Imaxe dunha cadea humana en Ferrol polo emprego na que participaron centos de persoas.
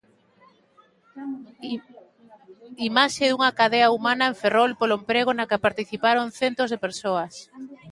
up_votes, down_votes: 1, 2